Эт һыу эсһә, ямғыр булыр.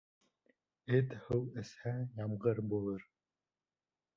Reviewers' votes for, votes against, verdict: 3, 0, accepted